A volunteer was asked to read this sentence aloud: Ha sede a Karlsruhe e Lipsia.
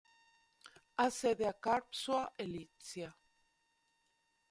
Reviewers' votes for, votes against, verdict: 2, 1, accepted